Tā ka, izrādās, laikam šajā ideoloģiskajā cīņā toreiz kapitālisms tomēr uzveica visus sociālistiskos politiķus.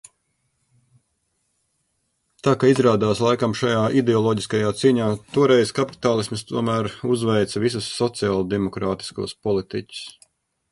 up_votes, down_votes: 0, 2